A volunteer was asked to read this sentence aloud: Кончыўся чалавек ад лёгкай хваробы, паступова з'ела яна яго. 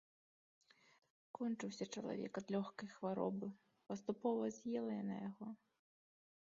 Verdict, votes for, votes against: rejected, 1, 2